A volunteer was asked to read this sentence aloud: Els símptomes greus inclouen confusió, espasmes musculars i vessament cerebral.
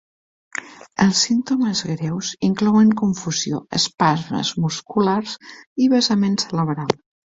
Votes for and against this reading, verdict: 1, 2, rejected